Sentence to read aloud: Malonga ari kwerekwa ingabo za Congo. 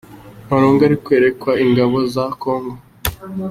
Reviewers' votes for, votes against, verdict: 3, 0, accepted